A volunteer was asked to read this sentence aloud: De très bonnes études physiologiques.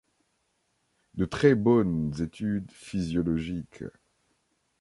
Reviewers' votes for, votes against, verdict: 2, 0, accepted